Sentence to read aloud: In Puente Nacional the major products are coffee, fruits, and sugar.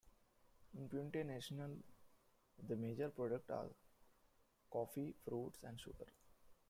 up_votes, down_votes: 1, 2